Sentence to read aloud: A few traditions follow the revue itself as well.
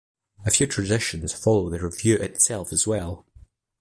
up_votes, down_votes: 2, 0